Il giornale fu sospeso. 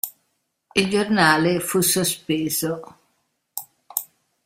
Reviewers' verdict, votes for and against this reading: accepted, 2, 1